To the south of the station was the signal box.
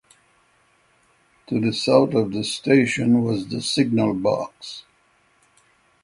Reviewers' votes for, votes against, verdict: 6, 0, accepted